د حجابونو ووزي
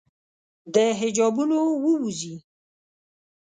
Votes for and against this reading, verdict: 1, 2, rejected